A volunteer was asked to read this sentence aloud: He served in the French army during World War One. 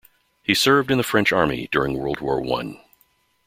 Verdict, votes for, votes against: accepted, 2, 0